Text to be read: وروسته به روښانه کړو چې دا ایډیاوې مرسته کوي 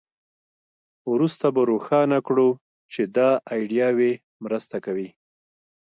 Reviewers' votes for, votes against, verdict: 2, 1, accepted